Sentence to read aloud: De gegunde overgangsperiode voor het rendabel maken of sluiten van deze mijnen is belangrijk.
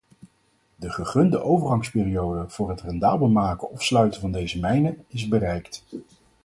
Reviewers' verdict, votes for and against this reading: rejected, 0, 4